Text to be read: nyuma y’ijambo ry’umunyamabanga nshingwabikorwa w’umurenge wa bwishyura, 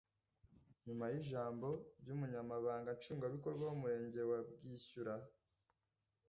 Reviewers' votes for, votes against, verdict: 2, 0, accepted